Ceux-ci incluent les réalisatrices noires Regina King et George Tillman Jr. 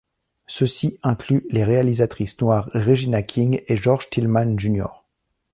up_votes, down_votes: 2, 0